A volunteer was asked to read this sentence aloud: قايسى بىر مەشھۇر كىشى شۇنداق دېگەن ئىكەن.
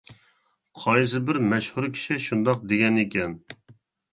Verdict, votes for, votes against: accepted, 2, 0